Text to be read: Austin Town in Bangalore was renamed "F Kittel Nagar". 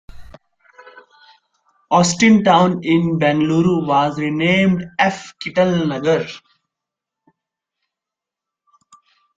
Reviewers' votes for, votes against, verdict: 0, 2, rejected